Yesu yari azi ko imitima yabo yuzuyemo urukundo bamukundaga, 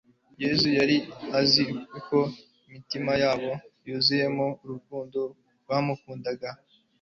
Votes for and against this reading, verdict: 1, 2, rejected